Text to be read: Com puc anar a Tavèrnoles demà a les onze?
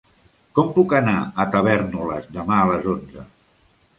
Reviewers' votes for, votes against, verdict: 1, 2, rejected